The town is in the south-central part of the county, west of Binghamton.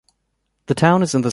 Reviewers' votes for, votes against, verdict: 0, 2, rejected